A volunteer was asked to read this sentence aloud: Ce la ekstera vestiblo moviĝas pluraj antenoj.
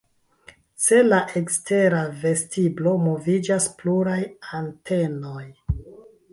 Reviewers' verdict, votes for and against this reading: accepted, 2, 0